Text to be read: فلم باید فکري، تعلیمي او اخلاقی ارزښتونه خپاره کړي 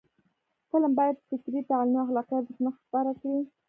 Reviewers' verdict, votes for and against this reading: rejected, 0, 2